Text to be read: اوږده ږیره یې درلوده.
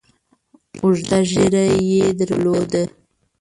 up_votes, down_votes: 1, 2